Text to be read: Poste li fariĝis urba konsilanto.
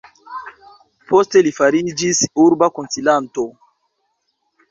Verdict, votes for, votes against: rejected, 0, 2